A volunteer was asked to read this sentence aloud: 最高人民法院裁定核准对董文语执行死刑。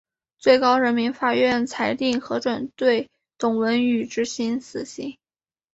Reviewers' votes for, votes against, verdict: 3, 0, accepted